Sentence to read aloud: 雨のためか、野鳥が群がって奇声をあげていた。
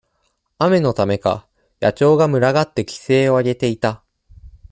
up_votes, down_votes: 2, 0